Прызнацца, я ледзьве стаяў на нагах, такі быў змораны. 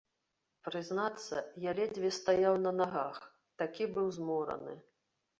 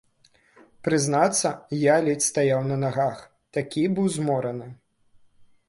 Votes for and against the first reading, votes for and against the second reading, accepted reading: 2, 0, 1, 2, first